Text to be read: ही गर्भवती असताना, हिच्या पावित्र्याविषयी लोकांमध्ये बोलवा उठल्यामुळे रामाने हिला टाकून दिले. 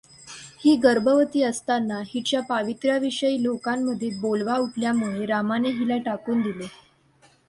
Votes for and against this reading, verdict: 2, 0, accepted